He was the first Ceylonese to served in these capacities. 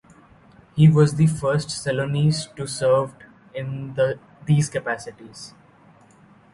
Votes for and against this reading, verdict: 0, 2, rejected